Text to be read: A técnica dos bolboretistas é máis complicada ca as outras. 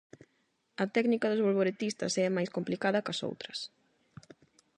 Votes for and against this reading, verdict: 0, 8, rejected